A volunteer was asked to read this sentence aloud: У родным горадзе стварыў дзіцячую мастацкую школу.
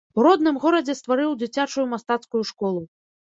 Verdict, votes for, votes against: accepted, 2, 1